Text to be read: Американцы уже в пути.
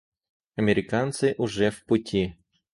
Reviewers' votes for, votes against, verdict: 4, 0, accepted